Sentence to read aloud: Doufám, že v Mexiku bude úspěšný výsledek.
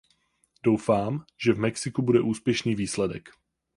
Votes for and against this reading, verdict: 8, 0, accepted